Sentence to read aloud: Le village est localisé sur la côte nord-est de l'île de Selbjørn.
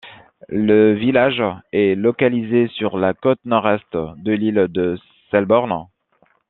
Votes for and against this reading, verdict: 1, 2, rejected